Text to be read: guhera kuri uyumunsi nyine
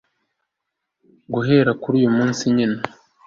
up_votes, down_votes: 2, 0